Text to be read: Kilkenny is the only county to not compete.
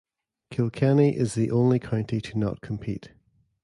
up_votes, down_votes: 1, 2